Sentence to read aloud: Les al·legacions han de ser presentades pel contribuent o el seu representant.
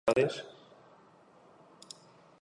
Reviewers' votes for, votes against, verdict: 0, 2, rejected